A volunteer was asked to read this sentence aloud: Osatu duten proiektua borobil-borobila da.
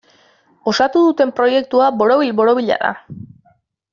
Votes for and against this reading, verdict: 2, 0, accepted